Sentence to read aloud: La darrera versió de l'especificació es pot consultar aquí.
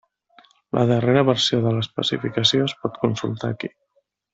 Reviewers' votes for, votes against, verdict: 4, 0, accepted